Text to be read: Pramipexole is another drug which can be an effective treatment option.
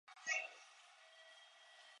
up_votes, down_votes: 0, 2